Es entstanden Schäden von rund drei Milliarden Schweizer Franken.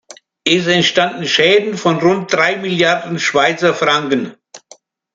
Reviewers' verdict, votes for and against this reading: accepted, 2, 0